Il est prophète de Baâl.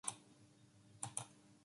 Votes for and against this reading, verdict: 0, 2, rejected